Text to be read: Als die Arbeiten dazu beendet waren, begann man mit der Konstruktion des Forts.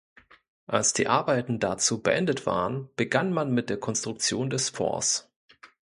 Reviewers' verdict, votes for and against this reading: accepted, 2, 0